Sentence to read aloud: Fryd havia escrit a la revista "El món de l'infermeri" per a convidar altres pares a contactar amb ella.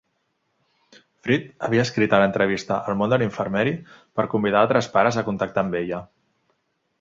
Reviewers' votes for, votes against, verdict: 1, 2, rejected